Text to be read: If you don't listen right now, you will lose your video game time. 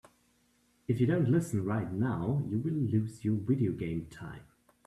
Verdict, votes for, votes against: accepted, 2, 0